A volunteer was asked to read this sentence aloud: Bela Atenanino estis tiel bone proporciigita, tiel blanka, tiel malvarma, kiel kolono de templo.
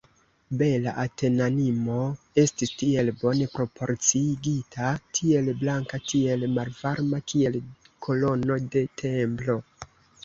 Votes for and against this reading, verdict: 2, 1, accepted